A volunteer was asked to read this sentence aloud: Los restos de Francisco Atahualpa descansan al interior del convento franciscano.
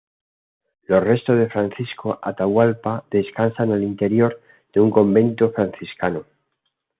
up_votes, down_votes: 1, 2